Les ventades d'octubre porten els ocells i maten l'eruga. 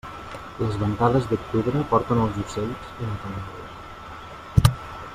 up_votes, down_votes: 0, 2